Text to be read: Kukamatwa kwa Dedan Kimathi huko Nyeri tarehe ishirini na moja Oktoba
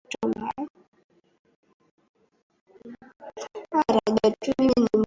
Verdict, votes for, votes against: rejected, 0, 2